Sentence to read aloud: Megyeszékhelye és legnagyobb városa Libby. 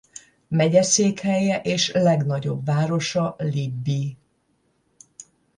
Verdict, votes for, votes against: accepted, 10, 0